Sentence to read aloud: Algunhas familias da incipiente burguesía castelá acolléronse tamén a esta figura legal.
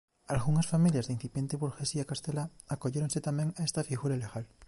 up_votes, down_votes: 2, 0